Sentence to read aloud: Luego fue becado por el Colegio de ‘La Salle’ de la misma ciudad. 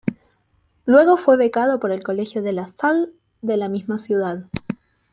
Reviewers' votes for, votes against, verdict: 1, 2, rejected